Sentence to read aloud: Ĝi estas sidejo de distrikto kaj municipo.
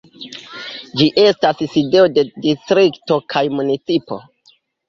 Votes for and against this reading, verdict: 2, 0, accepted